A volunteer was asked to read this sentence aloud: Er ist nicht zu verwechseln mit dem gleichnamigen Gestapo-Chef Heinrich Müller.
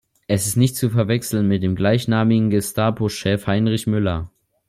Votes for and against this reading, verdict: 2, 0, accepted